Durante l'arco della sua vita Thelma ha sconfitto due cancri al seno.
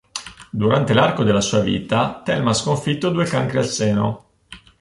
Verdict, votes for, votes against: accepted, 2, 0